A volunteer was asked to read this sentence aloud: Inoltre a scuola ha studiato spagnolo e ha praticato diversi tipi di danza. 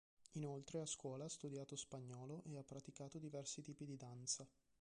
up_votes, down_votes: 1, 3